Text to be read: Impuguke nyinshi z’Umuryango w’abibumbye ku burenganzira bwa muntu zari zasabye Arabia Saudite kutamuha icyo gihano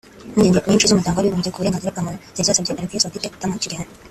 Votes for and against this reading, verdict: 1, 2, rejected